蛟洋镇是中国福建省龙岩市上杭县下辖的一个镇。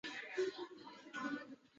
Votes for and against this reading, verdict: 1, 2, rejected